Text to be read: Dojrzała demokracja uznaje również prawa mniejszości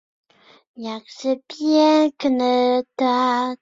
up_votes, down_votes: 0, 2